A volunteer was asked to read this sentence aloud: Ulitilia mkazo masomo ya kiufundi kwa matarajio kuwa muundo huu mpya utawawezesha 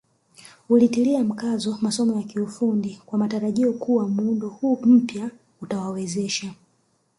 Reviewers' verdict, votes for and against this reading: accepted, 3, 0